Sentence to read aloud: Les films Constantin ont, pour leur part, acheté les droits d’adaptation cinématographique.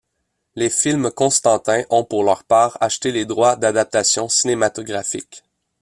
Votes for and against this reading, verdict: 2, 0, accepted